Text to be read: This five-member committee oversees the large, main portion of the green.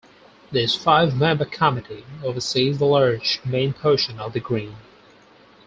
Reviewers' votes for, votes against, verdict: 2, 4, rejected